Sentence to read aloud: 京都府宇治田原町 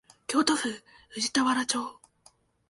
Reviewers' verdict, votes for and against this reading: accepted, 4, 0